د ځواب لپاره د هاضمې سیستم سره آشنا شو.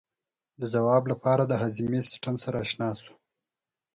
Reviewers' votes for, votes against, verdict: 4, 0, accepted